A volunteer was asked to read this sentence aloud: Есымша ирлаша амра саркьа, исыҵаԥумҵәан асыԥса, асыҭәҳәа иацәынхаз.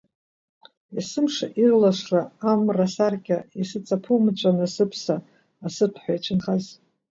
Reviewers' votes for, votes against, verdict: 1, 2, rejected